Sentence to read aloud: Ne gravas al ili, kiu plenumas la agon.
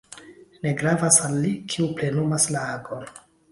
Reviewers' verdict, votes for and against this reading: rejected, 1, 2